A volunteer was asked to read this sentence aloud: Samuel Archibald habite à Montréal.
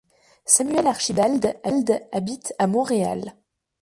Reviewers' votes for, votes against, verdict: 1, 2, rejected